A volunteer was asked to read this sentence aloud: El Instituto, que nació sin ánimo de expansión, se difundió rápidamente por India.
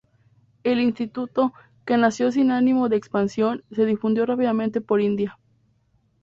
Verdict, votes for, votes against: accepted, 2, 0